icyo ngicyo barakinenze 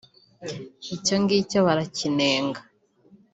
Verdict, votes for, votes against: rejected, 0, 2